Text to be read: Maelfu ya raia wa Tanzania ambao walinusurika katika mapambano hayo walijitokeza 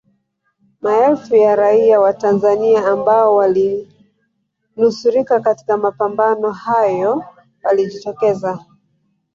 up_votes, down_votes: 1, 2